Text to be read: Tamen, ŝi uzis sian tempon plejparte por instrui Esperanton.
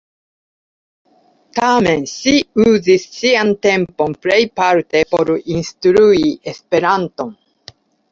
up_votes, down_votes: 2, 0